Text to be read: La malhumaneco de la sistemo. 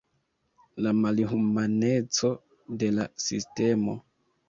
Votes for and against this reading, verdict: 0, 2, rejected